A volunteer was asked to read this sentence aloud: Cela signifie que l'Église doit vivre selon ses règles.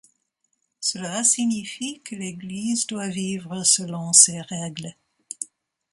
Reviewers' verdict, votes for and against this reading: accepted, 2, 0